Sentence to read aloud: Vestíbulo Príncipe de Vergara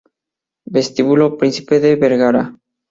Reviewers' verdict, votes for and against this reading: accepted, 2, 0